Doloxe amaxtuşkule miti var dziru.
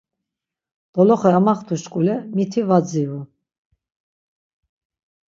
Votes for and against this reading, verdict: 6, 0, accepted